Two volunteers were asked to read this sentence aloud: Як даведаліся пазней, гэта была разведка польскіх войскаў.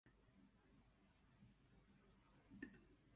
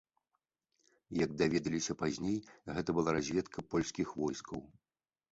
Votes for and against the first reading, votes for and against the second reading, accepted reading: 0, 2, 2, 0, second